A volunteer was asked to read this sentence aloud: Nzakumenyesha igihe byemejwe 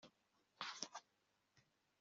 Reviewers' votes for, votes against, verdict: 2, 1, accepted